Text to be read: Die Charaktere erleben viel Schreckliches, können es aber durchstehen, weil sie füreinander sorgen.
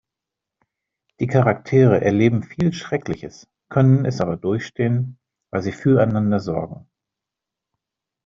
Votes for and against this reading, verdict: 2, 0, accepted